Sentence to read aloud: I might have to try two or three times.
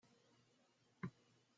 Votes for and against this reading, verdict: 0, 2, rejected